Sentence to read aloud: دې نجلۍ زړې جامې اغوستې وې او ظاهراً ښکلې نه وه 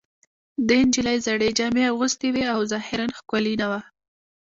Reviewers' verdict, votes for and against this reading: accepted, 2, 0